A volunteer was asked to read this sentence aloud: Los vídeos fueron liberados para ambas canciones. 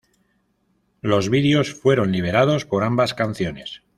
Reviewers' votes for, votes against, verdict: 1, 2, rejected